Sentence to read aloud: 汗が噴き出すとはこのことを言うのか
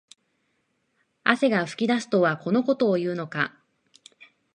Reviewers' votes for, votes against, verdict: 2, 1, accepted